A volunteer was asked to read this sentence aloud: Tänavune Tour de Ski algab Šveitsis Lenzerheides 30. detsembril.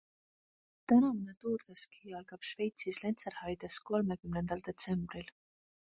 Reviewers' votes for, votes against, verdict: 0, 2, rejected